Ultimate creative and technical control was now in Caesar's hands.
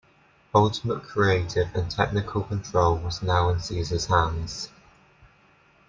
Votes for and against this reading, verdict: 2, 0, accepted